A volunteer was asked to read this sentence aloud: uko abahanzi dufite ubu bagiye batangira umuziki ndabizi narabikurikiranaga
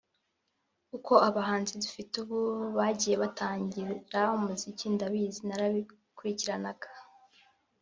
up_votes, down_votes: 1, 2